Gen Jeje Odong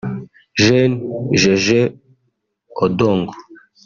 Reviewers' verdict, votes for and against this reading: rejected, 1, 2